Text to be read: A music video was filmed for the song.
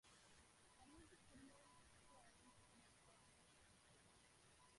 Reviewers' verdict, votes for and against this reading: rejected, 0, 2